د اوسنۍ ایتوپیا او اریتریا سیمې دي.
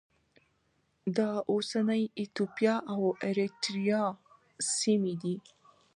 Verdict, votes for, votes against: accepted, 2, 0